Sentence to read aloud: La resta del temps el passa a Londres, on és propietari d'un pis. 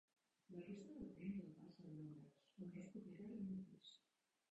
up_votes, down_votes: 0, 2